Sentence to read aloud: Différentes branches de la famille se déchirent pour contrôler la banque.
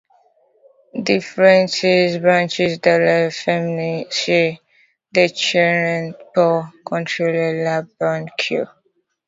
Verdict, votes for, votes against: rejected, 0, 2